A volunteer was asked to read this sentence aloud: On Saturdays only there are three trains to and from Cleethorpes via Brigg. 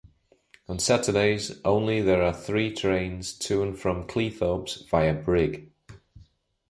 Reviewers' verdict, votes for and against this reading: accepted, 2, 0